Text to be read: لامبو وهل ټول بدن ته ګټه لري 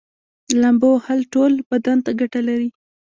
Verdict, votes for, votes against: rejected, 1, 2